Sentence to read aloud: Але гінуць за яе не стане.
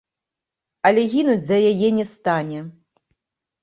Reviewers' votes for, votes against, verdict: 1, 2, rejected